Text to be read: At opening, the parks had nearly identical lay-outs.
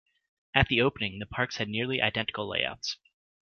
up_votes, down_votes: 1, 2